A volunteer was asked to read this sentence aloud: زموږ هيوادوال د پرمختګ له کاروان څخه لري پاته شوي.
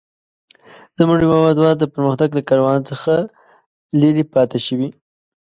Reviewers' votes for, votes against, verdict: 2, 0, accepted